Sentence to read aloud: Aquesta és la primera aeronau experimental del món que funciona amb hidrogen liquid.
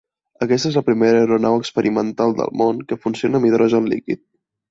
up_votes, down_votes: 2, 0